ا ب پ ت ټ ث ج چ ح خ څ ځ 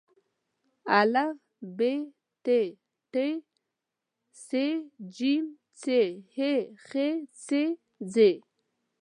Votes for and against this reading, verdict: 2, 3, rejected